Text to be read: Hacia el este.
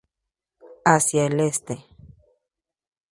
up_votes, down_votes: 2, 0